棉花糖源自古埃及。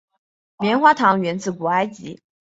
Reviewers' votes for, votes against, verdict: 4, 0, accepted